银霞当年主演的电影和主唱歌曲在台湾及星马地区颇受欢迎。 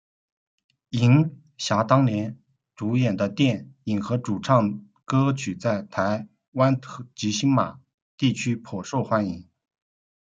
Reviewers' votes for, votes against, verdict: 2, 1, accepted